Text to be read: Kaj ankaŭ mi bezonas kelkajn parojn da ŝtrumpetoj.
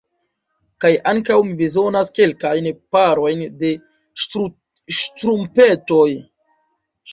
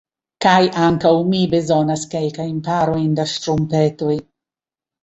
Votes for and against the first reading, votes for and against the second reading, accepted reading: 0, 2, 2, 1, second